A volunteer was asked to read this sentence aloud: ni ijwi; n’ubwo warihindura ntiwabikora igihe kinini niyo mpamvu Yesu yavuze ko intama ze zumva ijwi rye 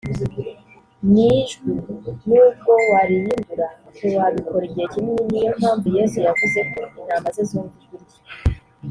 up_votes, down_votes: 1, 2